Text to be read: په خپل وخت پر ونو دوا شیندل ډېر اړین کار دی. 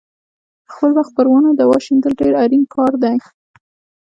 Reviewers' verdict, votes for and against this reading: accepted, 2, 0